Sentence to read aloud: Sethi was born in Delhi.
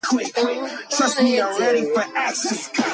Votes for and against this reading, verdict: 0, 2, rejected